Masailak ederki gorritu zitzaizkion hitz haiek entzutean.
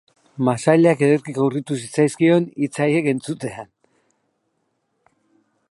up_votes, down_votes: 0, 2